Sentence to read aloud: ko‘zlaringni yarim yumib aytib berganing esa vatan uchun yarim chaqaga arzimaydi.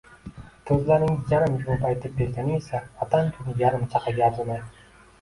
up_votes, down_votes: 0, 2